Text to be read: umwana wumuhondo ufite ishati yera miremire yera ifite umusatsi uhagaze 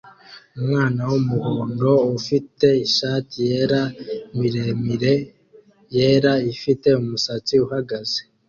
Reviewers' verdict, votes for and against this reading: accepted, 2, 0